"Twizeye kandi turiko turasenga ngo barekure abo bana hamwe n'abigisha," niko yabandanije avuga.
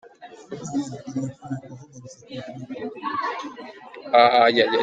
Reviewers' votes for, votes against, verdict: 0, 2, rejected